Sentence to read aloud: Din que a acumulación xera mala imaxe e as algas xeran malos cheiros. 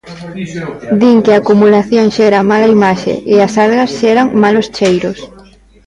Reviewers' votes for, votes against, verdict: 2, 0, accepted